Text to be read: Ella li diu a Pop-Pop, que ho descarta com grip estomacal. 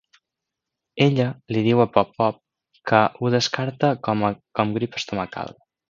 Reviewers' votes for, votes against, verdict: 0, 2, rejected